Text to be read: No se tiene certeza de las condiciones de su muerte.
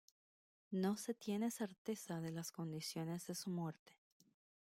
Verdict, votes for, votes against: rejected, 0, 2